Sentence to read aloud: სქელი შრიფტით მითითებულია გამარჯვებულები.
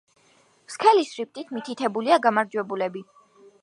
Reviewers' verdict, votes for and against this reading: rejected, 1, 2